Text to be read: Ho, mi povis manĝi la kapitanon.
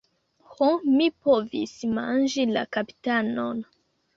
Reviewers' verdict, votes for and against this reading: accepted, 2, 0